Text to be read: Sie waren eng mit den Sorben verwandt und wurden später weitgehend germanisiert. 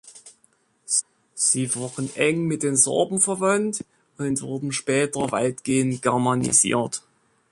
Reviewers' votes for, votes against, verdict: 0, 2, rejected